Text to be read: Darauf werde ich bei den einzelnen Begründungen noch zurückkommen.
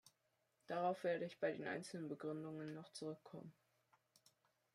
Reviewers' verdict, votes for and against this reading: rejected, 1, 2